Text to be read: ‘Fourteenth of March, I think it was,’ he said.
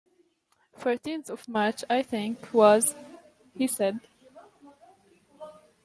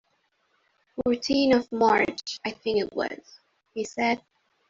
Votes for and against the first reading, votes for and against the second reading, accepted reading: 2, 0, 1, 2, first